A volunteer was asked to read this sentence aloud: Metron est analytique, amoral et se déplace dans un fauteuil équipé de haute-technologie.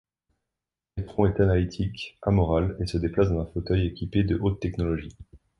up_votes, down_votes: 2, 0